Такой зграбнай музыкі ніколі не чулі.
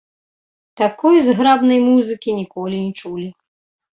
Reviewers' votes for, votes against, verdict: 1, 2, rejected